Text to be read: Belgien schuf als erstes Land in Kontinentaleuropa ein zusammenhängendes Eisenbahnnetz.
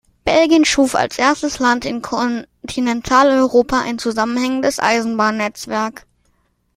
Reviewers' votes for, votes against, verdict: 0, 2, rejected